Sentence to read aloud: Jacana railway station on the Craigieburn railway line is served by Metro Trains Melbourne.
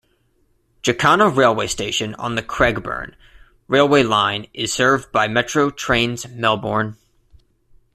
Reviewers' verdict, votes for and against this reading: accepted, 2, 0